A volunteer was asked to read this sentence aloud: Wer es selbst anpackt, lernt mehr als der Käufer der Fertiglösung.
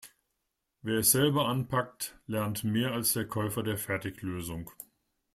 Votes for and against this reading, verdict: 0, 2, rejected